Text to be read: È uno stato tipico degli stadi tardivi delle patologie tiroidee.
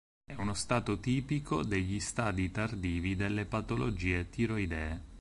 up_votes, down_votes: 4, 0